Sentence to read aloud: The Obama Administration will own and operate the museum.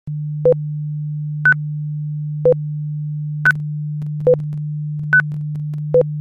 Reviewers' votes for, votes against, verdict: 0, 2, rejected